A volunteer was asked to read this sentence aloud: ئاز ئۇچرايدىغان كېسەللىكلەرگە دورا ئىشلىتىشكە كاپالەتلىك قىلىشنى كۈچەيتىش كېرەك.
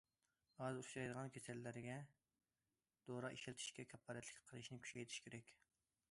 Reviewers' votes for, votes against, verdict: 2, 0, accepted